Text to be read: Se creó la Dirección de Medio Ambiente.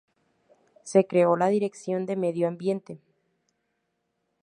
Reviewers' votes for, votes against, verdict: 4, 0, accepted